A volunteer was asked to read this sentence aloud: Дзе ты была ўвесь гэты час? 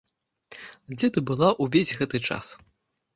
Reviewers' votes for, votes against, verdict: 2, 1, accepted